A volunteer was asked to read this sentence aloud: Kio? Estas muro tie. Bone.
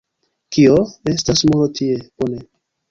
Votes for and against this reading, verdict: 2, 1, accepted